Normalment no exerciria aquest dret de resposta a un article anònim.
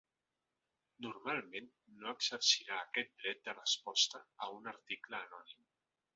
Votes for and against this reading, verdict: 0, 2, rejected